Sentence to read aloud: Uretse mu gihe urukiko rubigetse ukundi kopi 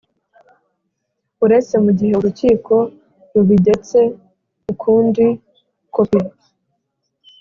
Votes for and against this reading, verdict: 2, 0, accepted